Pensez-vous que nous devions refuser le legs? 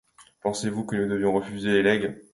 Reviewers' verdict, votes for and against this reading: rejected, 0, 2